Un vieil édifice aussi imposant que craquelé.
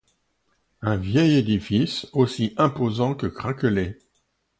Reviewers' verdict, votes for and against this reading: accepted, 2, 0